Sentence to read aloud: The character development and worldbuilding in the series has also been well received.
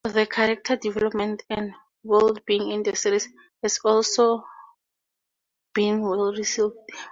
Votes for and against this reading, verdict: 4, 2, accepted